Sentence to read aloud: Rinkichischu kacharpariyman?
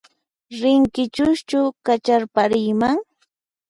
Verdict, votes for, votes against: rejected, 0, 4